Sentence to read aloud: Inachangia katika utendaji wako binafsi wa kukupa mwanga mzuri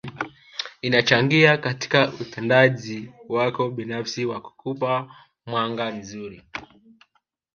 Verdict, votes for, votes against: rejected, 1, 3